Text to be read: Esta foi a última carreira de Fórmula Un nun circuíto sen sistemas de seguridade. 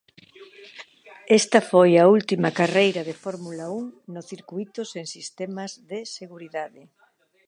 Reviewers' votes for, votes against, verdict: 1, 2, rejected